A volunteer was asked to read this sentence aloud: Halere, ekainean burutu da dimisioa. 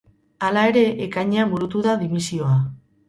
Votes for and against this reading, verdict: 0, 2, rejected